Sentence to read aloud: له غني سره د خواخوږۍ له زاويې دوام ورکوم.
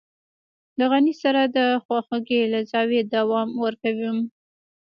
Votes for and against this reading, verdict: 0, 2, rejected